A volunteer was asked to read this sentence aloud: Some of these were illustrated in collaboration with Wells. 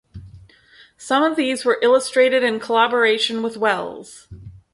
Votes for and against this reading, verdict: 4, 0, accepted